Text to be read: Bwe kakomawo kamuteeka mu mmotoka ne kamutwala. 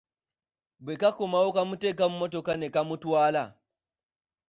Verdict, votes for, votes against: accepted, 2, 0